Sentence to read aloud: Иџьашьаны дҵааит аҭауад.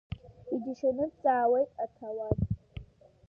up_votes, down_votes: 2, 0